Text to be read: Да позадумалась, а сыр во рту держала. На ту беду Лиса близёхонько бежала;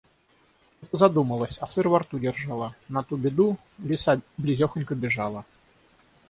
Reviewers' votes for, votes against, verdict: 3, 3, rejected